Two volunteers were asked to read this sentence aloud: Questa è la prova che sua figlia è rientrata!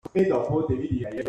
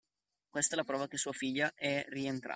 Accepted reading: second